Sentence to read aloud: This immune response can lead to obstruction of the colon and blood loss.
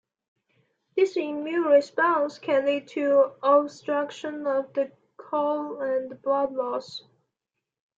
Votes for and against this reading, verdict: 2, 1, accepted